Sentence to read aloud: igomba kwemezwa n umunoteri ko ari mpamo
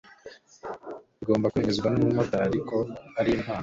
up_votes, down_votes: 1, 2